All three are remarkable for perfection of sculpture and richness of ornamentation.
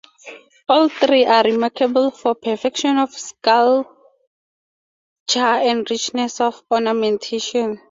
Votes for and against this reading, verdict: 2, 0, accepted